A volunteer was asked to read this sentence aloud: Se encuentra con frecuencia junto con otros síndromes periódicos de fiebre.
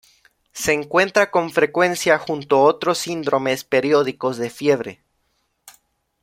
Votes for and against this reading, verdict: 0, 2, rejected